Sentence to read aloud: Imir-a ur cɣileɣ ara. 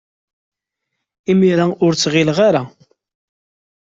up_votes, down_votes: 1, 2